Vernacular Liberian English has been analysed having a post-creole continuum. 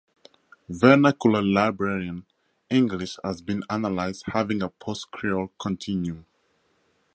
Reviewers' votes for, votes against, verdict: 4, 2, accepted